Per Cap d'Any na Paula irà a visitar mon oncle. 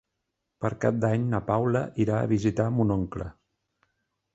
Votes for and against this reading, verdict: 3, 0, accepted